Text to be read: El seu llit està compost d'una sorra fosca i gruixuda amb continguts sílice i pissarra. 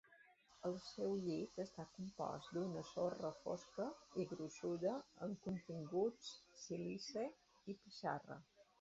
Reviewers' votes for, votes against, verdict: 2, 1, accepted